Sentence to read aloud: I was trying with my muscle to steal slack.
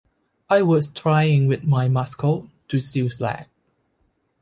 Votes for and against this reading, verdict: 0, 2, rejected